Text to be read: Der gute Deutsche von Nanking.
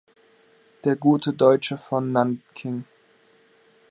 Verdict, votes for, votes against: accepted, 2, 0